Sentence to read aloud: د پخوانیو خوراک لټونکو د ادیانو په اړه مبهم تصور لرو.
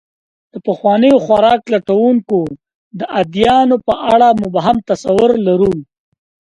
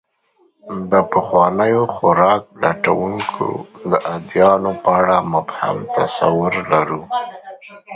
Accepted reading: first